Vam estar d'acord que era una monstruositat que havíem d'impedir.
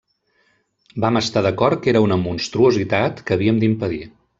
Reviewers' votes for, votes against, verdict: 2, 0, accepted